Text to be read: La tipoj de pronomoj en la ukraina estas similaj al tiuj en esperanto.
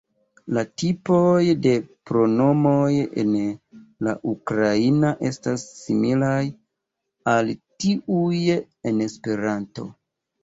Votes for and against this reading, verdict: 2, 0, accepted